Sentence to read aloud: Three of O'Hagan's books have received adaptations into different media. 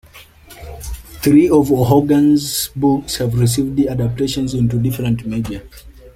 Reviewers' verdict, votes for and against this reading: rejected, 1, 2